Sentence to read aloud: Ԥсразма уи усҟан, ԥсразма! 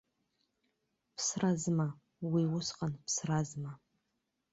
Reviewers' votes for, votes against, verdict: 2, 0, accepted